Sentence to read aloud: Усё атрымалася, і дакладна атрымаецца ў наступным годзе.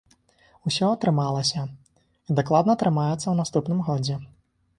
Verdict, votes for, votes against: accepted, 4, 0